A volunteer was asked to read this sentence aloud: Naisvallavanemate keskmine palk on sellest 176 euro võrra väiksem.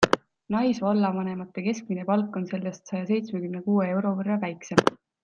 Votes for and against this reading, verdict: 0, 2, rejected